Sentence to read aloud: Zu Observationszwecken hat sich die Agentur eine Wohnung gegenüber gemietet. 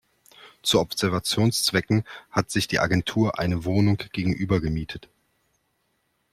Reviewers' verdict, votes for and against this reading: accepted, 2, 0